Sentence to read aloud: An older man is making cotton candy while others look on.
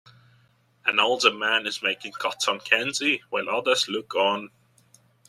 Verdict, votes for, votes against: accepted, 2, 0